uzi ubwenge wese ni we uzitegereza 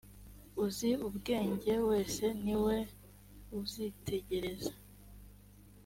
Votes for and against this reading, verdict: 2, 0, accepted